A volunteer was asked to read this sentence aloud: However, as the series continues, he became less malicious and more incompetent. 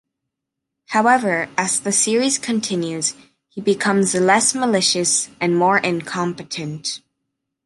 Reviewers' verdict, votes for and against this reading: rejected, 1, 2